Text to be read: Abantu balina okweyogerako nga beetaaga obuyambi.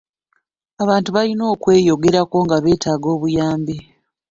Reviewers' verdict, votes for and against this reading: rejected, 0, 2